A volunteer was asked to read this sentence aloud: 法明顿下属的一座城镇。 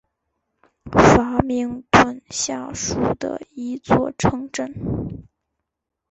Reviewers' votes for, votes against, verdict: 4, 0, accepted